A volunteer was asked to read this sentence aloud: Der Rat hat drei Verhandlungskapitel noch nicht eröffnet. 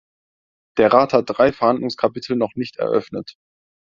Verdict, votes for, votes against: accepted, 2, 0